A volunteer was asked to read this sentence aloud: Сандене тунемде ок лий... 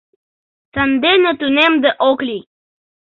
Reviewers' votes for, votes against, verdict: 2, 0, accepted